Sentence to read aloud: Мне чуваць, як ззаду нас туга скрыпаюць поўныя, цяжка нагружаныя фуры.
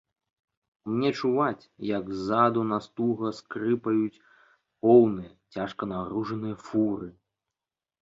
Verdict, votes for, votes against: accepted, 2, 1